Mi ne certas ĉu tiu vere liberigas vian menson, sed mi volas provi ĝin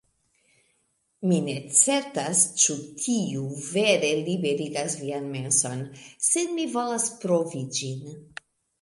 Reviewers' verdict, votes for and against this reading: accepted, 2, 0